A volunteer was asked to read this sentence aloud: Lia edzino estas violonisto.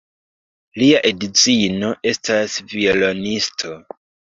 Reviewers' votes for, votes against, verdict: 2, 0, accepted